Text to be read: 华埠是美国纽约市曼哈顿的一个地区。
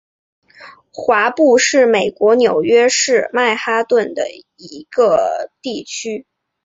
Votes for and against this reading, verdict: 3, 0, accepted